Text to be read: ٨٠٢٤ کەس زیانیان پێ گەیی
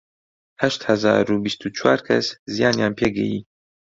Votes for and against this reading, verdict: 0, 2, rejected